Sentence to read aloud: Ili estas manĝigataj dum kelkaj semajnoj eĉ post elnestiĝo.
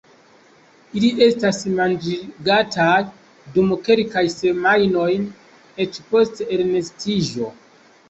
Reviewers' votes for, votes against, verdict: 1, 2, rejected